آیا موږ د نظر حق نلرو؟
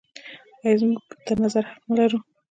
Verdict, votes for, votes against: rejected, 0, 2